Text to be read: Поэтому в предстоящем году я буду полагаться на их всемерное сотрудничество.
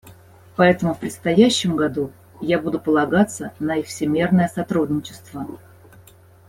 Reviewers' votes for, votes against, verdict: 2, 0, accepted